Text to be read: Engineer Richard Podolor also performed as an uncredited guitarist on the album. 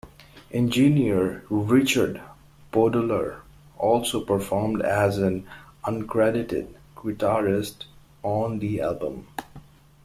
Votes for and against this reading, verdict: 2, 0, accepted